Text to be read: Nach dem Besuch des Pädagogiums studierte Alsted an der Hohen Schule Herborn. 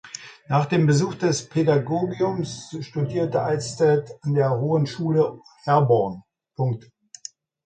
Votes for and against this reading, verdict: 0, 2, rejected